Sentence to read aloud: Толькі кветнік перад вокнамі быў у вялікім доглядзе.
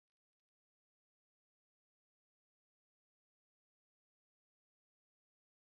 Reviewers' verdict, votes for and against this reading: rejected, 0, 2